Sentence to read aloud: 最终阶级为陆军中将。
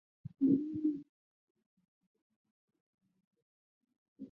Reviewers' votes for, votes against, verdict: 0, 3, rejected